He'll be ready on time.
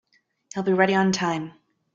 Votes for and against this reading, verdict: 2, 0, accepted